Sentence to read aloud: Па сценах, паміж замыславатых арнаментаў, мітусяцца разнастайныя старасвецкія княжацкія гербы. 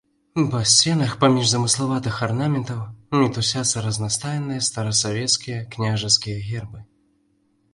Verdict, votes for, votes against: accepted, 2, 1